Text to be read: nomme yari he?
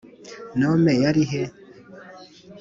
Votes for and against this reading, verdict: 2, 0, accepted